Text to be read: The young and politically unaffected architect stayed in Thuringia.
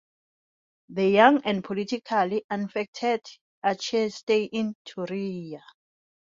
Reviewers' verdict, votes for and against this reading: rejected, 1, 2